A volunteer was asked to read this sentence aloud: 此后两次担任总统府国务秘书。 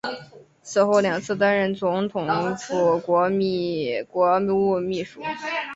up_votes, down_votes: 1, 4